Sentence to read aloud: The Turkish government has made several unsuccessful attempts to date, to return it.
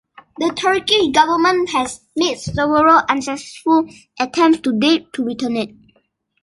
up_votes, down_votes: 1, 2